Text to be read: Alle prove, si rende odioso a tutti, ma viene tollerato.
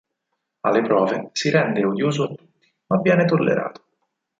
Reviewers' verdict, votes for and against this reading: rejected, 2, 4